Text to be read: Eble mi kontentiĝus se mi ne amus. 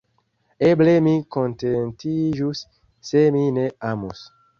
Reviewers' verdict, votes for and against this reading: rejected, 0, 2